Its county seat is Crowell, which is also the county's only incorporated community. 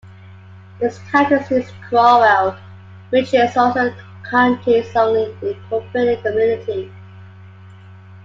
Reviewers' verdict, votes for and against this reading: rejected, 1, 2